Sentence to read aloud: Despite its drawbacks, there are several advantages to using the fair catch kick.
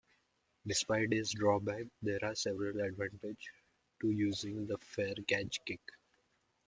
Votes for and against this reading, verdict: 2, 0, accepted